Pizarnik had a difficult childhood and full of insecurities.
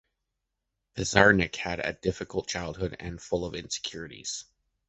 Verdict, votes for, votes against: accepted, 2, 0